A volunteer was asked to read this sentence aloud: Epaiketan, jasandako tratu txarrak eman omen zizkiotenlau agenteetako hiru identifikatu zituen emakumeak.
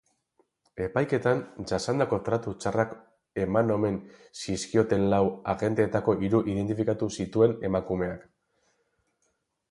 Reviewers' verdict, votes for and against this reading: rejected, 2, 2